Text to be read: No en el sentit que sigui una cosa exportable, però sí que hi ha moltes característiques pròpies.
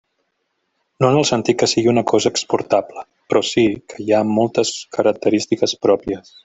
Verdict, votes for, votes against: rejected, 0, 2